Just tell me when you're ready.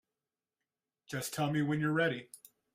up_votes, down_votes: 2, 0